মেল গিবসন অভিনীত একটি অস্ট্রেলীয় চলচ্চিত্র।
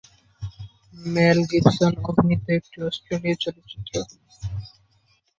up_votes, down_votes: 1, 2